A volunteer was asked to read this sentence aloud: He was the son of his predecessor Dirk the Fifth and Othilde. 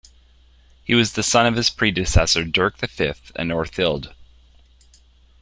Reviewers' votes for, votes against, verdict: 1, 2, rejected